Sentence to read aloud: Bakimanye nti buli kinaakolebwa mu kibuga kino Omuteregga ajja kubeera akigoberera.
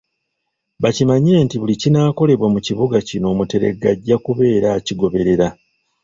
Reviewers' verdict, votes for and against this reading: rejected, 1, 2